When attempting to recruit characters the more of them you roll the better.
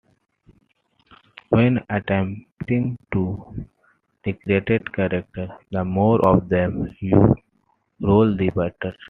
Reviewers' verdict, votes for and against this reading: accepted, 2, 1